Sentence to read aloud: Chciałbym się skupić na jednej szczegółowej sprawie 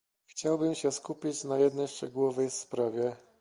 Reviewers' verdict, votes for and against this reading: accepted, 2, 0